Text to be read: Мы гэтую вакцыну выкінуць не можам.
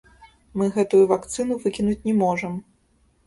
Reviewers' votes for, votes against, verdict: 0, 2, rejected